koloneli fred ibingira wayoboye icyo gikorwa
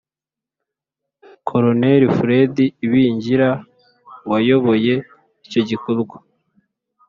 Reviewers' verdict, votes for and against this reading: accepted, 2, 0